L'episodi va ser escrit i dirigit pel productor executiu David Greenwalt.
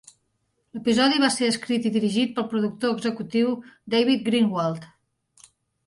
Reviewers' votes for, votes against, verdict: 4, 0, accepted